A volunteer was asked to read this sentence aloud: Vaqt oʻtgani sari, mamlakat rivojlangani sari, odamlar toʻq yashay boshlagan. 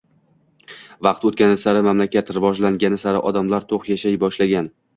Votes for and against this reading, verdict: 1, 2, rejected